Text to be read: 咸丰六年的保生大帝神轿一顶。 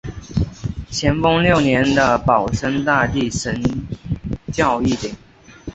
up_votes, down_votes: 2, 0